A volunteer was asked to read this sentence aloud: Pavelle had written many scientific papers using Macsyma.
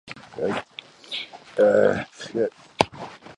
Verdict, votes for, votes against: rejected, 0, 2